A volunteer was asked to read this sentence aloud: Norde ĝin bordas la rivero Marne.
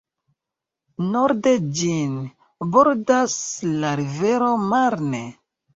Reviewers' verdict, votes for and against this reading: accepted, 2, 0